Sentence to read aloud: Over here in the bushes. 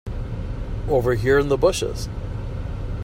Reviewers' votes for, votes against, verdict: 2, 0, accepted